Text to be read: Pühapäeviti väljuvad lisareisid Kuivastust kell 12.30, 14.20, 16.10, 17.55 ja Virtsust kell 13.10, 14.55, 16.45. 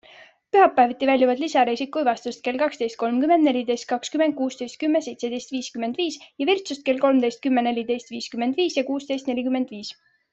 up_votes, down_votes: 0, 2